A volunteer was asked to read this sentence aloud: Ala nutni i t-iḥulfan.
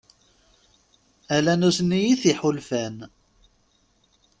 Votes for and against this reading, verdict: 3, 0, accepted